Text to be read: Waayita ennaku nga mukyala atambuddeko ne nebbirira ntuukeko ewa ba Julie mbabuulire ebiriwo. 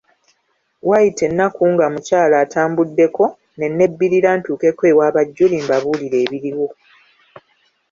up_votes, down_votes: 2, 1